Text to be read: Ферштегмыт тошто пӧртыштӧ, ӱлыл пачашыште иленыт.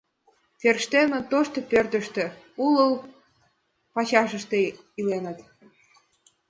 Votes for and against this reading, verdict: 0, 2, rejected